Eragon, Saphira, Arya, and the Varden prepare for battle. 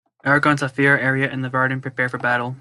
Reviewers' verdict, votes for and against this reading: accepted, 2, 0